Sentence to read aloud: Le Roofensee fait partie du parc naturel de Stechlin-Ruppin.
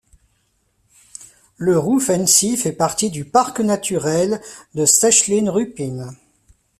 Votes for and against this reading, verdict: 2, 0, accepted